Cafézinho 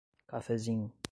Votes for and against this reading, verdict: 5, 0, accepted